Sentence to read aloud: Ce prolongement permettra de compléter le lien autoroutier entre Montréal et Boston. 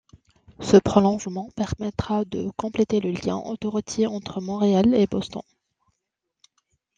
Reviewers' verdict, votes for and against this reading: accepted, 2, 1